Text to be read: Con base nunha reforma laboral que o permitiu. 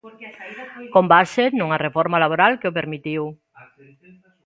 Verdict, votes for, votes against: accepted, 2, 1